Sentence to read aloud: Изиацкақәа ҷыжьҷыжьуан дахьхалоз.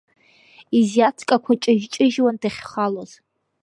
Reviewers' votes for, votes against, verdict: 1, 2, rejected